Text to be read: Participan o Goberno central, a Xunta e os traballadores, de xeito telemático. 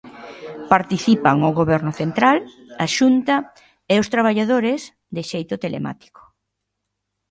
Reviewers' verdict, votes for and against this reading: accepted, 2, 0